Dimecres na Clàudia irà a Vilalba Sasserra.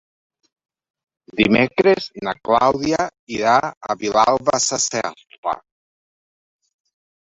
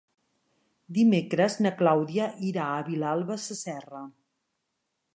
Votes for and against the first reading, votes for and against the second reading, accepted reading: 1, 2, 3, 0, second